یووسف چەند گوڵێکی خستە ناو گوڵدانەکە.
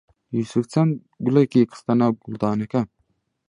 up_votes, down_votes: 1, 2